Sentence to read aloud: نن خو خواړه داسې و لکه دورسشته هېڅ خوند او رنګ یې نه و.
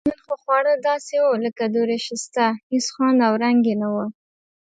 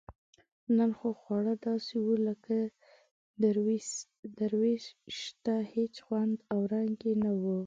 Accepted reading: first